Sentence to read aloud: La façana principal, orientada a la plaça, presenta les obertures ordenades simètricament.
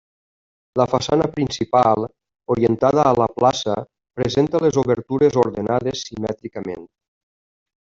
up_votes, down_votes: 3, 0